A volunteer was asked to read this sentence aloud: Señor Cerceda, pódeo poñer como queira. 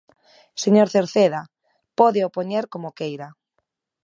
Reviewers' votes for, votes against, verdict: 2, 0, accepted